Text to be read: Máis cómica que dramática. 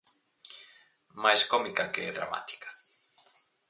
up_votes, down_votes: 4, 0